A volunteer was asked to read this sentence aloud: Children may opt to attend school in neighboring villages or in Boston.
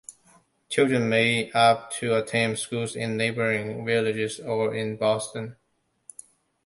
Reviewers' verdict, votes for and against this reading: rejected, 1, 2